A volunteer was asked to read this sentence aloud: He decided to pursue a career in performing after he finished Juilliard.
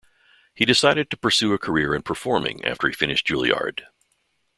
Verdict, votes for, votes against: accepted, 2, 0